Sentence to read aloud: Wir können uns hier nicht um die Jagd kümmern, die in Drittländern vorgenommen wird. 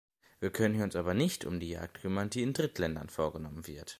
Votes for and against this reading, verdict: 0, 2, rejected